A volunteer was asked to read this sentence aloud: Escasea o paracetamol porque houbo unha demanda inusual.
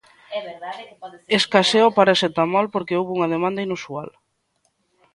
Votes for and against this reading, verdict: 1, 2, rejected